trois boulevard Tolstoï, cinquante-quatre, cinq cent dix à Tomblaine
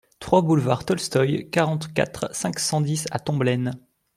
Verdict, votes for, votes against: rejected, 1, 2